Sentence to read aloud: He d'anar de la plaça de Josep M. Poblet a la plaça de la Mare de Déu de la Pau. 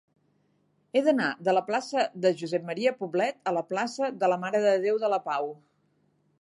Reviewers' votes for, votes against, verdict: 4, 0, accepted